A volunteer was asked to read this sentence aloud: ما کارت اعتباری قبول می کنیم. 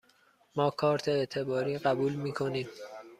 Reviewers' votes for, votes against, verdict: 2, 0, accepted